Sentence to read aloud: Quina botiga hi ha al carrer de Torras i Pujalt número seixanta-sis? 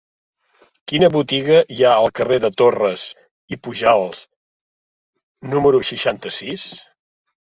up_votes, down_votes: 0, 2